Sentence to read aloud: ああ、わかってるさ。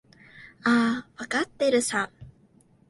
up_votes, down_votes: 2, 0